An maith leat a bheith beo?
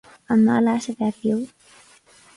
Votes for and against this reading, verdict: 4, 0, accepted